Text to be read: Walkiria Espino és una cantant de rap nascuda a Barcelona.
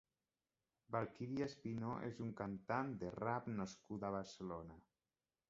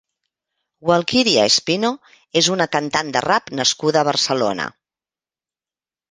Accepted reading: second